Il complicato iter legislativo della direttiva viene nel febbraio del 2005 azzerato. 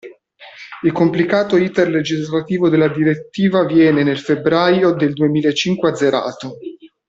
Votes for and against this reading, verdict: 0, 2, rejected